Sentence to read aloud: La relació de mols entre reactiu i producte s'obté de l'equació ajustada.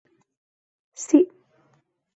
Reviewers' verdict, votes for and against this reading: rejected, 0, 3